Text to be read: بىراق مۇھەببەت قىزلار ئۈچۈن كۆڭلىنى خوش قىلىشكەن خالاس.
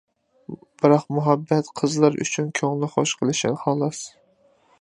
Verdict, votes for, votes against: rejected, 0, 2